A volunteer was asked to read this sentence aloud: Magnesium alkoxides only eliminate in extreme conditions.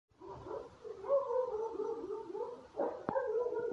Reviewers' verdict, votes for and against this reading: rejected, 0, 2